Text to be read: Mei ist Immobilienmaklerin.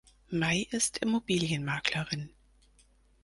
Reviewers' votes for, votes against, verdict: 4, 0, accepted